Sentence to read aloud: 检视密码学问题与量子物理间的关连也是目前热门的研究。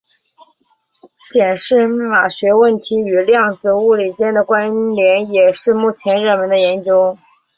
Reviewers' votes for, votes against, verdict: 8, 0, accepted